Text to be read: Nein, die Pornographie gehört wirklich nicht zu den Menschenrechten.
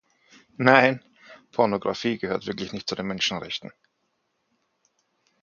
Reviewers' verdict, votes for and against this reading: rejected, 0, 4